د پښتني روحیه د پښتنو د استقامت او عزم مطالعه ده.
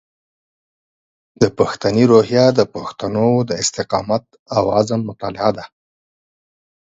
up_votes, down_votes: 12, 0